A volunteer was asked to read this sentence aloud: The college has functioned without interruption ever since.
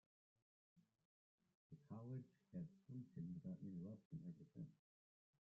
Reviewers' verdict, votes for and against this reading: rejected, 0, 2